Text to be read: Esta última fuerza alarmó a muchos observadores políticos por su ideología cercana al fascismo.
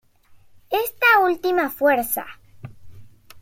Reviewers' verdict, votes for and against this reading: rejected, 0, 2